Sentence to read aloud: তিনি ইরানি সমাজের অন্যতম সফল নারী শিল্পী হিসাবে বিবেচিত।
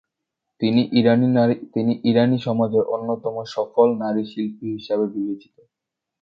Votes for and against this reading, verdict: 0, 2, rejected